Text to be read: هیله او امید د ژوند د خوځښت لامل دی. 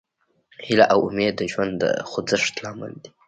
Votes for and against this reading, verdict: 1, 2, rejected